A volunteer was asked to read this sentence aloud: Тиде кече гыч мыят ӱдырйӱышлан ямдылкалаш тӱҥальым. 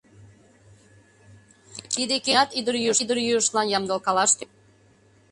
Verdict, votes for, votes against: rejected, 0, 2